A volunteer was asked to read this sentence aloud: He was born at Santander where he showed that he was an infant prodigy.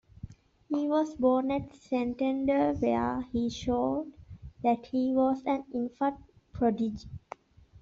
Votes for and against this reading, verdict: 2, 1, accepted